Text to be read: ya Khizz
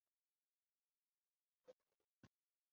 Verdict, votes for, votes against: rejected, 1, 3